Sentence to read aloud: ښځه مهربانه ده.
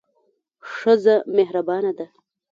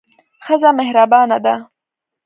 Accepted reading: second